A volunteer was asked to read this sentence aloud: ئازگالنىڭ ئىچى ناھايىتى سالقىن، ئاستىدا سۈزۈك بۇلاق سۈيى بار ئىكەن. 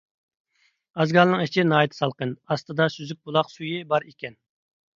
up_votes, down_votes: 3, 0